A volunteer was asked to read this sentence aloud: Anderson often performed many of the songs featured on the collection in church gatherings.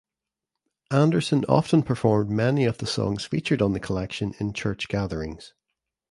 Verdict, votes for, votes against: accepted, 2, 0